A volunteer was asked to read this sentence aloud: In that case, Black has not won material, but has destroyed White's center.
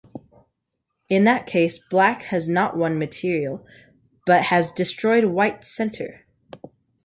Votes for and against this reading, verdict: 2, 0, accepted